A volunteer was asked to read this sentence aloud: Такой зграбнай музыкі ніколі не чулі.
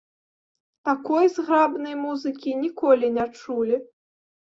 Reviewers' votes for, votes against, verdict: 2, 0, accepted